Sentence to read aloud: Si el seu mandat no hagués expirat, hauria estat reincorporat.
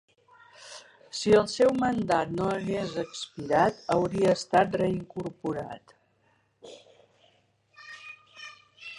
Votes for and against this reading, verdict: 3, 0, accepted